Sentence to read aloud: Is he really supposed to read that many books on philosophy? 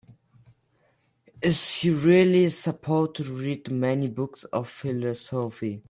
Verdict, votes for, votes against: rejected, 0, 2